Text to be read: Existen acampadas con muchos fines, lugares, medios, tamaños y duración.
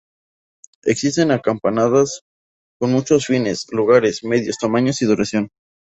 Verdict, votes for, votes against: rejected, 0, 2